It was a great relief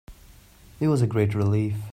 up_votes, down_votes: 3, 0